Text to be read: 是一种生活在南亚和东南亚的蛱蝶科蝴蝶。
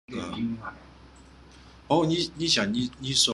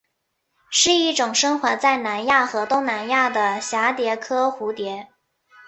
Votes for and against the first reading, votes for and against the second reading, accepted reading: 0, 2, 2, 1, second